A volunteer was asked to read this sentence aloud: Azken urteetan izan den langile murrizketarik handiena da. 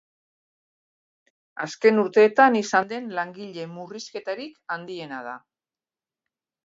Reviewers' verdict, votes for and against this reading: accepted, 4, 0